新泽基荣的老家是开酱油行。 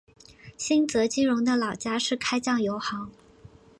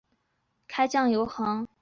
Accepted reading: first